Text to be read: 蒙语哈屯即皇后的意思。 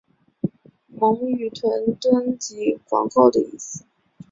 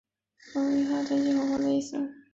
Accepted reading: first